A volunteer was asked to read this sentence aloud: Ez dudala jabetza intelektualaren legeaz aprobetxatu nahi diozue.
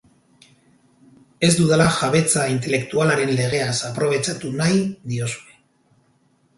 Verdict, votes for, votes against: rejected, 2, 4